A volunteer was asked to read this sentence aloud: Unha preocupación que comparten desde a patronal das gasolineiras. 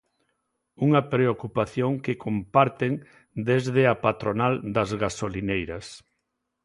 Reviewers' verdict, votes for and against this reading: accepted, 2, 0